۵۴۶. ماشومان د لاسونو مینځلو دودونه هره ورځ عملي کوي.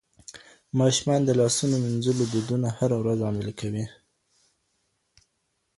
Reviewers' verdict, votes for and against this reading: rejected, 0, 2